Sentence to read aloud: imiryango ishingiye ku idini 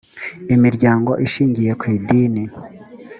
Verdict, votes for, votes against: accepted, 2, 0